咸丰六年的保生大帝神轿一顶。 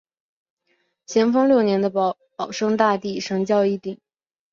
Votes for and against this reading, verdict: 2, 0, accepted